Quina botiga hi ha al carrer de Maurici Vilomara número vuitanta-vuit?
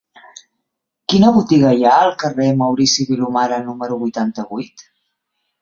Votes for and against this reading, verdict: 1, 2, rejected